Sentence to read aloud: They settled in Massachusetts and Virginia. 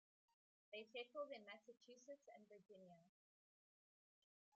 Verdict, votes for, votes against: rejected, 1, 2